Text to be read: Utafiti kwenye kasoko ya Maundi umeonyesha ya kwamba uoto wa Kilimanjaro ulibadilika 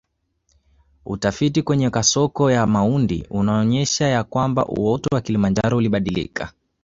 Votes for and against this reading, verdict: 2, 0, accepted